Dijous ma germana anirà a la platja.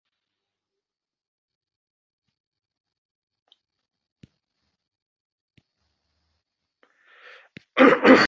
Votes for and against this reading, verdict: 0, 2, rejected